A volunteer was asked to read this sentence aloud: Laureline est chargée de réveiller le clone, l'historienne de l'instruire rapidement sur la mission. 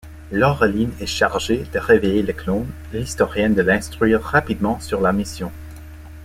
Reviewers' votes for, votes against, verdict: 2, 0, accepted